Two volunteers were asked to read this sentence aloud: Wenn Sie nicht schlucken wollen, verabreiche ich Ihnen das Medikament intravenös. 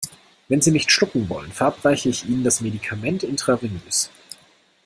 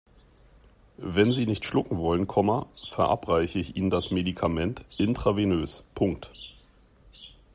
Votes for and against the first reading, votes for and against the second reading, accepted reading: 2, 0, 0, 2, first